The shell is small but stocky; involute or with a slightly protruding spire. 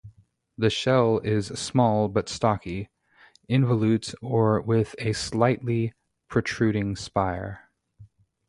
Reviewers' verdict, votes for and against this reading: accepted, 2, 0